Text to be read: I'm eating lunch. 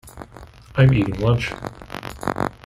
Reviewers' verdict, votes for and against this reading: rejected, 1, 2